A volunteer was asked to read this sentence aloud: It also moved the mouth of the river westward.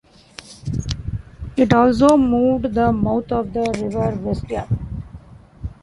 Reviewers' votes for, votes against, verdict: 1, 2, rejected